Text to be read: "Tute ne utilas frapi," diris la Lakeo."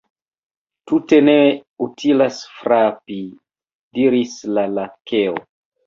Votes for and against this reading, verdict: 2, 0, accepted